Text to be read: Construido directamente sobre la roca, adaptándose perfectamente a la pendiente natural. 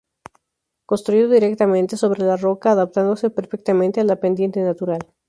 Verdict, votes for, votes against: accepted, 2, 0